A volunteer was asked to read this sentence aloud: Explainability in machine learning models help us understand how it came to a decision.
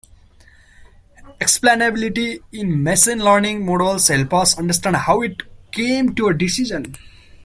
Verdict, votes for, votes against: rejected, 0, 2